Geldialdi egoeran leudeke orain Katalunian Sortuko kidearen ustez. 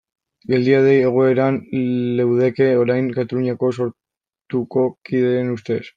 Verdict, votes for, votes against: rejected, 0, 2